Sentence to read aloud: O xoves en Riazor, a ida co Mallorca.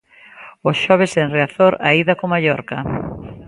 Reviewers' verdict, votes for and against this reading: accepted, 2, 0